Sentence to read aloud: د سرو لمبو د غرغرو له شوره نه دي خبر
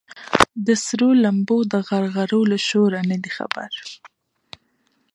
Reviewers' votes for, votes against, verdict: 2, 0, accepted